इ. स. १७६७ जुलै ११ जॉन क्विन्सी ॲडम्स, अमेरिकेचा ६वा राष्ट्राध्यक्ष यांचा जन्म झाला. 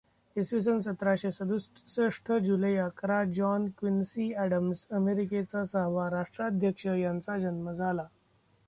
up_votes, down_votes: 0, 2